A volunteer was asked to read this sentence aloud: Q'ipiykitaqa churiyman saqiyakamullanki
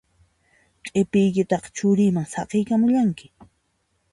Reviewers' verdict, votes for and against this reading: accepted, 2, 0